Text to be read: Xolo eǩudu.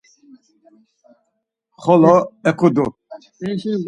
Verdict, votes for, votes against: accepted, 4, 2